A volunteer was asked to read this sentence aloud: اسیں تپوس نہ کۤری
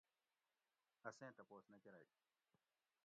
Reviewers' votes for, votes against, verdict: 1, 2, rejected